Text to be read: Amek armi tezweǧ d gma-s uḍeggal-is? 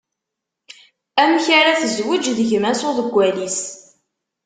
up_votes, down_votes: 1, 2